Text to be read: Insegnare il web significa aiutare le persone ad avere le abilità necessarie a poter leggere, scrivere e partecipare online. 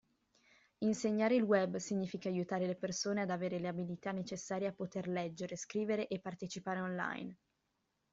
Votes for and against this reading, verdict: 2, 0, accepted